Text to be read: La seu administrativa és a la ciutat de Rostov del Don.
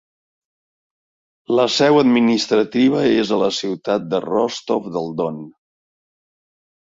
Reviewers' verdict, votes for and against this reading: accepted, 2, 0